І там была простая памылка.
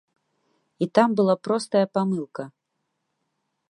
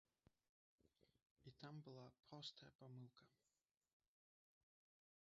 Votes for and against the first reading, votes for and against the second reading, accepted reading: 2, 0, 1, 2, first